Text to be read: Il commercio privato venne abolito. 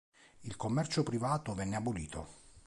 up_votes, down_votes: 3, 0